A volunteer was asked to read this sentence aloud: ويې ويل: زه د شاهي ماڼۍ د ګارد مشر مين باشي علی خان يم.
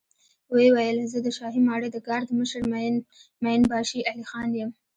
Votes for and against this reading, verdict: 1, 2, rejected